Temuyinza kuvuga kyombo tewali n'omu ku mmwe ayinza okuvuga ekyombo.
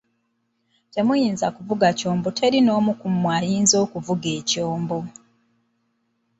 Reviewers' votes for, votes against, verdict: 1, 2, rejected